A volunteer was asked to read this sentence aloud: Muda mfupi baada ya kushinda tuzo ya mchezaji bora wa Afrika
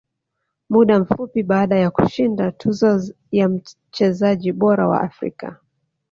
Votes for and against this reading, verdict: 0, 2, rejected